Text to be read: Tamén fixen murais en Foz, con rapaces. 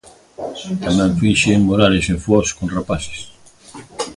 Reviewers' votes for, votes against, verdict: 0, 2, rejected